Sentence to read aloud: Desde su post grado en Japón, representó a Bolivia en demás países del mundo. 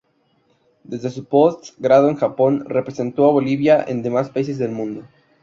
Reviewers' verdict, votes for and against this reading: rejected, 0, 2